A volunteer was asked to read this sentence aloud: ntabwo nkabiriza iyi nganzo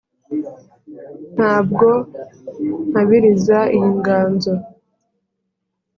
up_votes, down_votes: 3, 0